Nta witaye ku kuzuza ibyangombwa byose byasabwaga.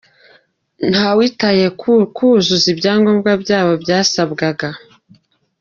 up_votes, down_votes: 0, 2